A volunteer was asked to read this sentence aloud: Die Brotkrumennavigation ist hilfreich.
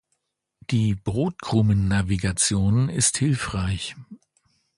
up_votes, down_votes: 2, 1